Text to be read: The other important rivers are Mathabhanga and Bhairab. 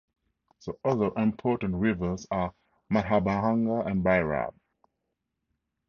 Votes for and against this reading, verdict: 2, 2, rejected